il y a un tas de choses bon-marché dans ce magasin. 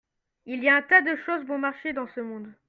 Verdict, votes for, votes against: rejected, 0, 2